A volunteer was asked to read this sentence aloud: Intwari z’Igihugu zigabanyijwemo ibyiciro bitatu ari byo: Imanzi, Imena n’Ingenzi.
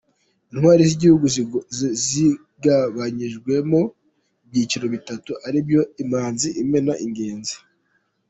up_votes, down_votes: 2, 1